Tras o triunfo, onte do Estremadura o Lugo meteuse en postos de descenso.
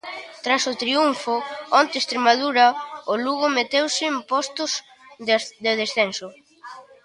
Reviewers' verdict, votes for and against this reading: rejected, 0, 2